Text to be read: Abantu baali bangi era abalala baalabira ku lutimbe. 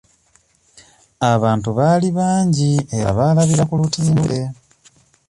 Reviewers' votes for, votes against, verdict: 1, 2, rejected